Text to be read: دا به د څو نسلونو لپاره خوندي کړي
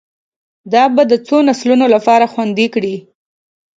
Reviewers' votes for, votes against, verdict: 2, 0, accepted